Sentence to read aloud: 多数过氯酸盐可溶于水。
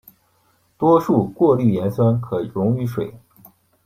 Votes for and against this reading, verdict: 1, 2, rejected